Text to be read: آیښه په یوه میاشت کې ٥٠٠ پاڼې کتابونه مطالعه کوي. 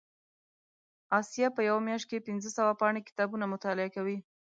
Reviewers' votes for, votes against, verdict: 0, 2, rejected